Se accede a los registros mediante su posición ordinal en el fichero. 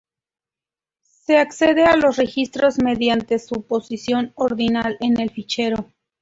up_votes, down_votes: 2, 0